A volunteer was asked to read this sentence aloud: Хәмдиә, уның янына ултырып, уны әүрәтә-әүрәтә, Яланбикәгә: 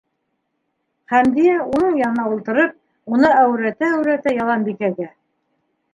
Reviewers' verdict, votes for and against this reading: accepted, 2, 0